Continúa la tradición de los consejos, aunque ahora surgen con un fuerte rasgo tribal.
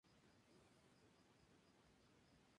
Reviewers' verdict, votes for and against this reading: rejected, 0, 4